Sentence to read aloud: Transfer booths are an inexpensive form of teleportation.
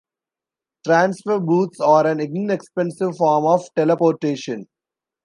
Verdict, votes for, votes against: accepted, 2, 0